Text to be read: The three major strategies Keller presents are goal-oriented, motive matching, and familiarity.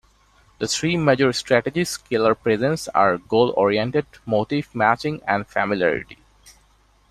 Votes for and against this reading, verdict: 2, 0, accepted